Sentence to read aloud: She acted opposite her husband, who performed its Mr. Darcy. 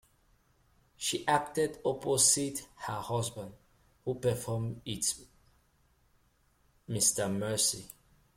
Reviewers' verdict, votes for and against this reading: rejected, 0, 2